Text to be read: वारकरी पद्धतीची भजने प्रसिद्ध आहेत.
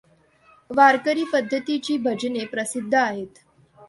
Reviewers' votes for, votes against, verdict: 2, 0, accepted